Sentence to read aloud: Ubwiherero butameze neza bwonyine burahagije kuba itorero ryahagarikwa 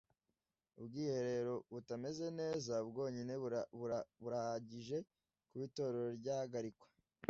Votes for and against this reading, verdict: 0, 2, rejected